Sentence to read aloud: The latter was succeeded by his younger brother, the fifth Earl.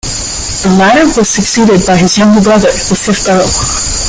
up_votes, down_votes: 0, 2